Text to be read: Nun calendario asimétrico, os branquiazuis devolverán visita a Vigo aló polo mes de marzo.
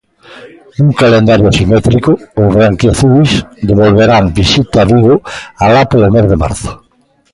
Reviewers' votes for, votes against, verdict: 1, 3, rejected